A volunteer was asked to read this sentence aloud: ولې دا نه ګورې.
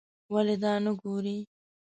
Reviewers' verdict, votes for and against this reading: rejected, 1, 2